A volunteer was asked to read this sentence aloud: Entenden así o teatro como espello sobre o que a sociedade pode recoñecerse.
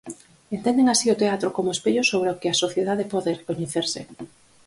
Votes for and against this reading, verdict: 4, 0, accepted